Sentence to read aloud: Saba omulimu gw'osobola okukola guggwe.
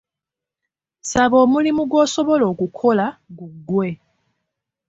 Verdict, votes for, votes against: accepted, 2, 0